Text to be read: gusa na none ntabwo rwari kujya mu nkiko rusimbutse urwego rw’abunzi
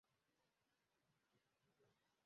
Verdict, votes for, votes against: rejected, 0, 2